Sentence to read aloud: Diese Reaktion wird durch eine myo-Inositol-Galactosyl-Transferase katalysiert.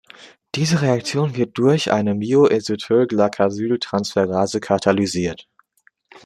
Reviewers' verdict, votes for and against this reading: accepted, 2, 1